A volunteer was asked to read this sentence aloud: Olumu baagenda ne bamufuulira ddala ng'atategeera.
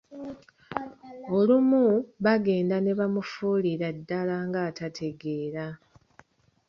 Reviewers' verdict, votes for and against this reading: accepted, 2, 0